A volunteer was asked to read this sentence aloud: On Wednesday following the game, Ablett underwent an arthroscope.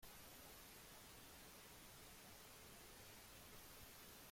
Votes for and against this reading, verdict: 0, 2, rejected